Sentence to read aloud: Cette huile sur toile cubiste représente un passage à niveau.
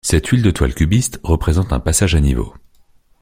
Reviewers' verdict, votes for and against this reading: rejected, 0, 2